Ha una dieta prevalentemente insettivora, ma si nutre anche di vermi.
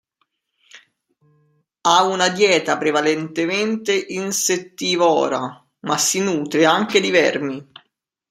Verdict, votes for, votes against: rejected, 0, 2